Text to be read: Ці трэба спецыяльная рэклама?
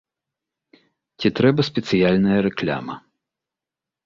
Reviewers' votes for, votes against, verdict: 1, 2, rejected